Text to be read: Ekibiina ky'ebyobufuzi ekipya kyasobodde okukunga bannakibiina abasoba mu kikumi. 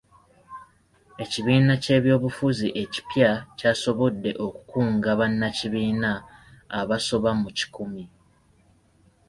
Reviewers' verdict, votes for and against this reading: accepted, 2, 0